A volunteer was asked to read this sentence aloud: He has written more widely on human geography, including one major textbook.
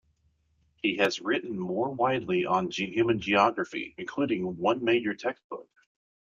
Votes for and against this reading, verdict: 1, 2, rejected